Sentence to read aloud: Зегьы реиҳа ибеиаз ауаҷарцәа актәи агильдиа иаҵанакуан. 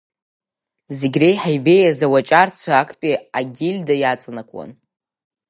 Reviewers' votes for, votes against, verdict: 1, 3, rejected